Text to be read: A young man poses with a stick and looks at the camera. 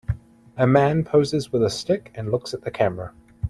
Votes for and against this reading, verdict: 0, 2, rejected